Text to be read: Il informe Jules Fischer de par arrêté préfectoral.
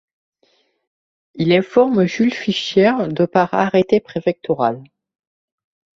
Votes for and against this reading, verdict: 2, 0, accepted